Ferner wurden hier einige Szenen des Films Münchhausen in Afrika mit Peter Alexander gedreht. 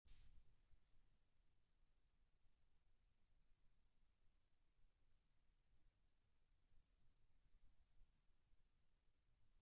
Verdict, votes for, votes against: rejected, 0, 2